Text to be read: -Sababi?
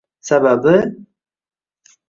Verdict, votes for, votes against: rejected, 1, 2